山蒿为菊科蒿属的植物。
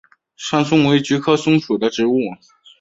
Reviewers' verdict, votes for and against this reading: accepted, 3, 0